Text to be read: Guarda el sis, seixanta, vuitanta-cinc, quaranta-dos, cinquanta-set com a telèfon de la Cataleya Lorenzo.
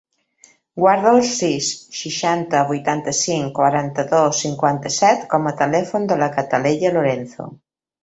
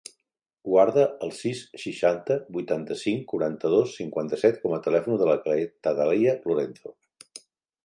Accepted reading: first